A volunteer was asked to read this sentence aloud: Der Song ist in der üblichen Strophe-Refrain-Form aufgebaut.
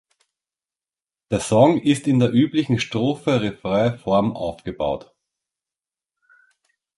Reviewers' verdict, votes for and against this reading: accepted, 2, 0